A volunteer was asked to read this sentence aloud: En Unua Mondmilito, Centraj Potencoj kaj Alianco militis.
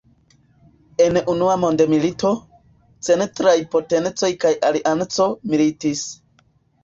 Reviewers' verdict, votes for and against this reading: accepted, 2, 0